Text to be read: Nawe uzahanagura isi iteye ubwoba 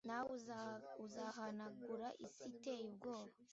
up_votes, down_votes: 0, 2